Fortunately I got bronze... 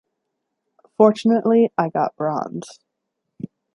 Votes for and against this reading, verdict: 2, 0, accepted